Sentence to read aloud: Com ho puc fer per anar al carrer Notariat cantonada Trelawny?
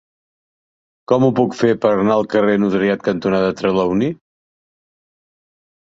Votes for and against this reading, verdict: 2, 0, accepted